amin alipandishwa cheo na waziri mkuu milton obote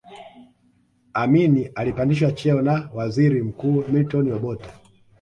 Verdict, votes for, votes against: accepted, 2, 0